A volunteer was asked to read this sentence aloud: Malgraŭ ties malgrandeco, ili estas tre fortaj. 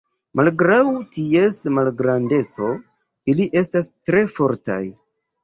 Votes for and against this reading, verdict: 2, 1, accepted